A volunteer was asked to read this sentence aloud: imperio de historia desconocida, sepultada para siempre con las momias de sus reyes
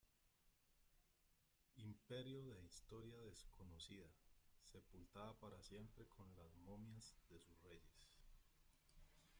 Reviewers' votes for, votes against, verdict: 0, 2, rejected